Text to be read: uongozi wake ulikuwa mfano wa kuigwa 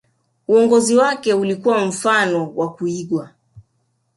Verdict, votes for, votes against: rejected, 1, 2